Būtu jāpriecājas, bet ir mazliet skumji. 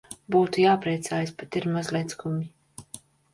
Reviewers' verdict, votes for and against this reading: accepted, 2, 0